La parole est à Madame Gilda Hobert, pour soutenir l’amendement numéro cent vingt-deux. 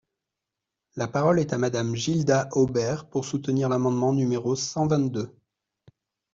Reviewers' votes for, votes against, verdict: 2, 0, accepted